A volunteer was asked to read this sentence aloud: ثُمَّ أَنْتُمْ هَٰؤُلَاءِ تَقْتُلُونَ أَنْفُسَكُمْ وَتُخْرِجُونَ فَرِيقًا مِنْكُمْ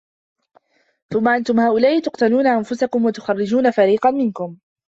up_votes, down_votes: 1, 2